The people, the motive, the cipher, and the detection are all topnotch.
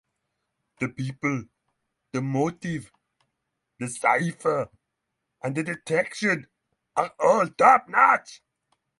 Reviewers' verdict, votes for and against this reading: accepted, 3, 0